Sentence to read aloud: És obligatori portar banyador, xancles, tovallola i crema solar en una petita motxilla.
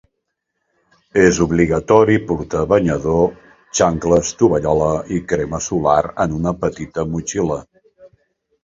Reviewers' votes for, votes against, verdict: 2, 1, accepted